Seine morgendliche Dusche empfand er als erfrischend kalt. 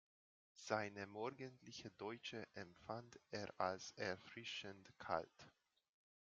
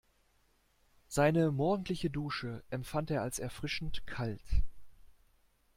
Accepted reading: second